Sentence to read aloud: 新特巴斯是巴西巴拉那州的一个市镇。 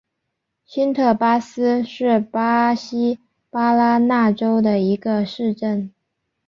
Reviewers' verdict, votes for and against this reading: accepted, 3, 1